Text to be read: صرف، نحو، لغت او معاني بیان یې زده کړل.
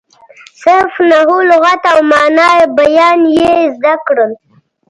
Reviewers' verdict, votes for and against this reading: rejected, 1, 2